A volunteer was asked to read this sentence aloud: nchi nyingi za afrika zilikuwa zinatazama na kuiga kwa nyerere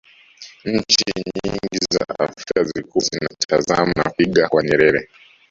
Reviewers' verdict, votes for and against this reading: rejected, 1, 2